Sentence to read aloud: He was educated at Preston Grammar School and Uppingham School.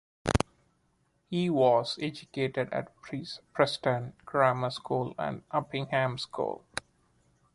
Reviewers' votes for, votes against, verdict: 1, 2, rejected